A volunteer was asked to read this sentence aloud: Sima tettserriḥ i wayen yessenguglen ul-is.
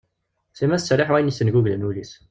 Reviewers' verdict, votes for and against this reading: rejected, 0, 2